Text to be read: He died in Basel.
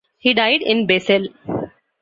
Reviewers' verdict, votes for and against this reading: accepted, 2, 0